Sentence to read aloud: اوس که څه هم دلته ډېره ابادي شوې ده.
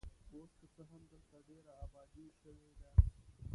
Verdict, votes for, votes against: rejected, 0, 2